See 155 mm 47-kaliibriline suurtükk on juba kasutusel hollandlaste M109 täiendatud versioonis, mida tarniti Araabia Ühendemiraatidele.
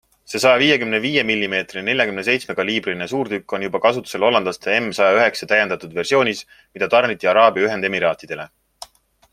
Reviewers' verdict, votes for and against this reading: rejected, 0, 2